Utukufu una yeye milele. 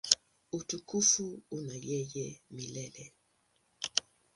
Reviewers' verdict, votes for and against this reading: accepted, 2, 0